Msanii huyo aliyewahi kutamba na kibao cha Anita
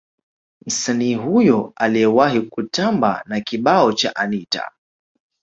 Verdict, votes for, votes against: accepted, 2, 0